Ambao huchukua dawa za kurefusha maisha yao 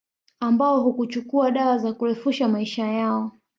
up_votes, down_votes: 0, 2